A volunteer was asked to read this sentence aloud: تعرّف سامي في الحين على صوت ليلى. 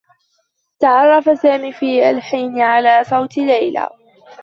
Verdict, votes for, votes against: rejected, 1, 2